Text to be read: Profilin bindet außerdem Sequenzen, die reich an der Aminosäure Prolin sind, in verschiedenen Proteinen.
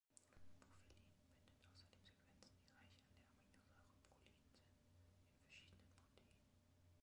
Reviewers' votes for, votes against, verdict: 0, 2, rejected